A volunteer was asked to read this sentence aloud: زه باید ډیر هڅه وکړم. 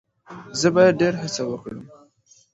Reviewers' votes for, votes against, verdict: 2, 0, accepted